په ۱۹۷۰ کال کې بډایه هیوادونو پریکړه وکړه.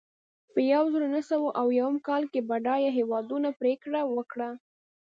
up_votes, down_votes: 0, 2